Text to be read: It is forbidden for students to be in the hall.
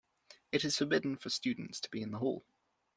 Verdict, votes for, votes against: accepted, 2, 0